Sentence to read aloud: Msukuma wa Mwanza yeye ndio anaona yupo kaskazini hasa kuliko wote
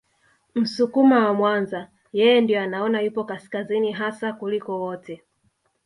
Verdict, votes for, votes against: accepted, 2, 1